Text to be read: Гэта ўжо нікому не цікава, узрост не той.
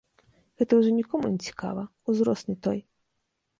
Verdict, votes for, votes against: accepted, 3, 0